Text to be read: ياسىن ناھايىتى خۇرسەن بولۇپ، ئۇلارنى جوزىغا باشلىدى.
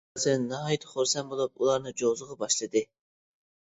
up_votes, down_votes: 0, 2